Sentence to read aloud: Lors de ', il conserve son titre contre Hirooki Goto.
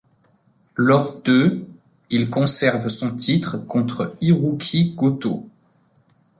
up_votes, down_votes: 2, 0